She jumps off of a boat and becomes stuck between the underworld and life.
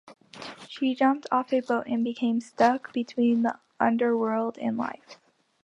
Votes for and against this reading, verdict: 1, 3, rejected